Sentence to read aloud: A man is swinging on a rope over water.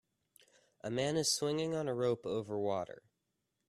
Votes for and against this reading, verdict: 2, 0, accepted